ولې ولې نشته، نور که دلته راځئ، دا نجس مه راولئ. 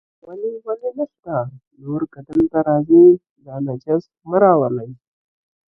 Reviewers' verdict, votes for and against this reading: rejected, 0, 2